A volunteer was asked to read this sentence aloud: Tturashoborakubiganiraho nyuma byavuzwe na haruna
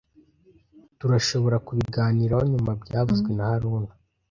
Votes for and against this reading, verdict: 2, 0, accepted